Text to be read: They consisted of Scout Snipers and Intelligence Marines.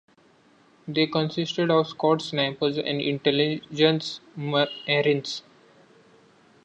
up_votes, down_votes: 0, 2